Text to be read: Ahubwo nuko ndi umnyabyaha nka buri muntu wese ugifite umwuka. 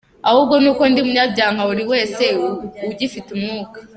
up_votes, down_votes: 1, 2